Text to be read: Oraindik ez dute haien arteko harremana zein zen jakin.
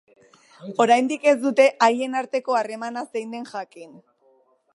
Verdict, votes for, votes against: rejected, 1, 2